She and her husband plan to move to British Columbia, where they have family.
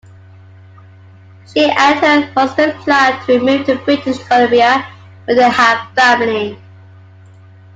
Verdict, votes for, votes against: rejected, 0, 2